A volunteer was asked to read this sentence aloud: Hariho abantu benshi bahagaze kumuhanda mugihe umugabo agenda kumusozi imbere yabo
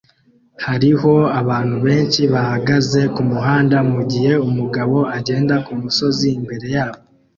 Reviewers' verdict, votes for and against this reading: accepted, 2, 0